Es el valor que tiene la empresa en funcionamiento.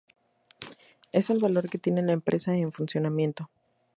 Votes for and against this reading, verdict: 0, 2, rejected